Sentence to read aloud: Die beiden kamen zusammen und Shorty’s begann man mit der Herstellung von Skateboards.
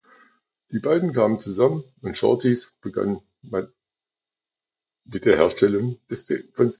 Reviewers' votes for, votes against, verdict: 0, 2, rejected